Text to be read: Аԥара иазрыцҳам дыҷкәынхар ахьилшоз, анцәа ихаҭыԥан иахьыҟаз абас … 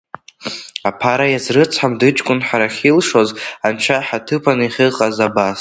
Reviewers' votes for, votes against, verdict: 0, 2, rejected